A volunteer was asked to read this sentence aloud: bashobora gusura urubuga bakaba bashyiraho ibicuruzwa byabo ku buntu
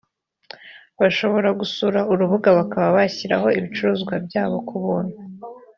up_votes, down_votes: 2, 0